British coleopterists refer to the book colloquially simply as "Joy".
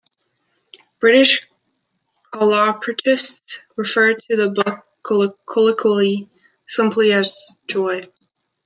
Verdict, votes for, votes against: rejected, 1, 2